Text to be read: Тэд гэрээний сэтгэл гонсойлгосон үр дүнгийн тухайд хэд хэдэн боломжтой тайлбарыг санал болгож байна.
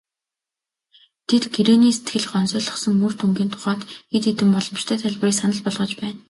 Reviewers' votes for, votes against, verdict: 5, 0, accepted